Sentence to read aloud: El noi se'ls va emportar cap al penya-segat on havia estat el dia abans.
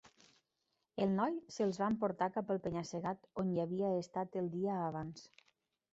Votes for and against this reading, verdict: 1, 2, rejected